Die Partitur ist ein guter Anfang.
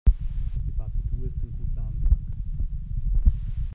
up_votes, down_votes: 1, 2